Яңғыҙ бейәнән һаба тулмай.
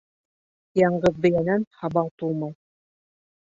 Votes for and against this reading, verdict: 1, 2, rejected